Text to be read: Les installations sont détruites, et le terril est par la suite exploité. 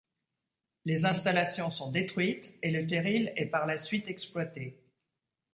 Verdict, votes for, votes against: accepted, 2, 0